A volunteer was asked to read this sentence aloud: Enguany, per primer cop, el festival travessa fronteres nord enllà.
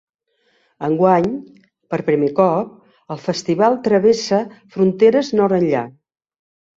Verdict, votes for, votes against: accepted, 2, 0